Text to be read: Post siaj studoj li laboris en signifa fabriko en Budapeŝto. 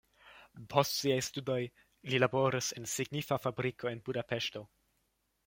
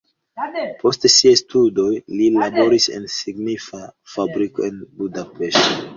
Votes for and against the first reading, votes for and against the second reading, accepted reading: 2, 0, 1, 2, first